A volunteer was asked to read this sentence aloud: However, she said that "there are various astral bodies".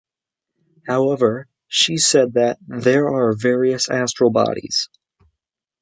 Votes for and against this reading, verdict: 2, 0, accepted